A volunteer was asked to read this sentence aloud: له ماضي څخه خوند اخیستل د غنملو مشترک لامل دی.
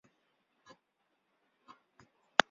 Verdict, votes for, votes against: rejected, 2, 3